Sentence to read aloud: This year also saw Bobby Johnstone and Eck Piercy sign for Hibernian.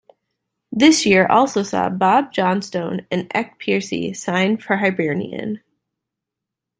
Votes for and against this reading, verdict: 1, 2, rejected